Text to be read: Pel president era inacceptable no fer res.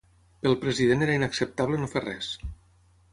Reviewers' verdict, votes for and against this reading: accepted, 6, 0